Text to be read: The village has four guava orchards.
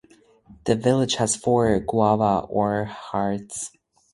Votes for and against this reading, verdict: 2, 4, rejected